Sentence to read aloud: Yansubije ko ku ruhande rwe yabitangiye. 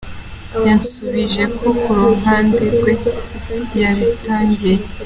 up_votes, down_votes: 2, 0